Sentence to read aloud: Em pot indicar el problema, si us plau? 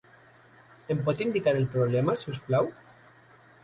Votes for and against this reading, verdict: 0, 2, rejected